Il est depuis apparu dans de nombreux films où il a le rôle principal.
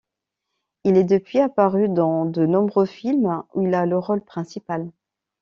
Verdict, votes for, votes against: accepted, 2, 0